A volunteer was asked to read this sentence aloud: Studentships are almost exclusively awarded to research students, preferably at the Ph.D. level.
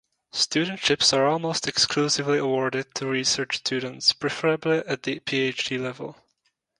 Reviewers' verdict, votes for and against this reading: accepted, 2, 0